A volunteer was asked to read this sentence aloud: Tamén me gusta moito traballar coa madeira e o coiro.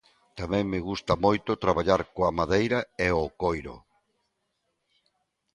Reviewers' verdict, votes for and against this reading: accepted, 2, 0